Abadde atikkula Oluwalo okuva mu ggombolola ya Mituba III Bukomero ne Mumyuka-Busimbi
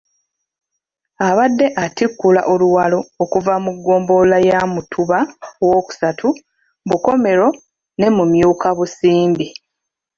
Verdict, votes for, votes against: rejected, 1, 2